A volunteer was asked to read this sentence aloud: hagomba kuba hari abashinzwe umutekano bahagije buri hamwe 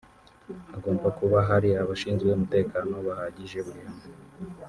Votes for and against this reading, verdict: 0, 2, rejected